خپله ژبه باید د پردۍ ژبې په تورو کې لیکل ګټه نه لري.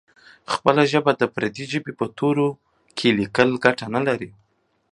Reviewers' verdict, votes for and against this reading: accepted, 2, 0